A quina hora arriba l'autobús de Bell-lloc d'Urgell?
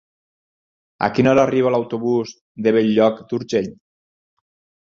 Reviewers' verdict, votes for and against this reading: accepted, 6, 0